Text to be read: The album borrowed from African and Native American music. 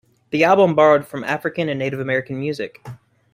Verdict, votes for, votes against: accepted, 2, 1